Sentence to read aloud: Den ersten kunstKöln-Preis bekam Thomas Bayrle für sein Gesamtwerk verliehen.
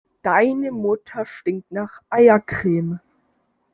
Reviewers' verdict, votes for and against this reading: rejected, 0, 2